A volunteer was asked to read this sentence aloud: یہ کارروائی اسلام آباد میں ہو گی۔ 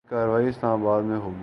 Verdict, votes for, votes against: rejected, 0, 2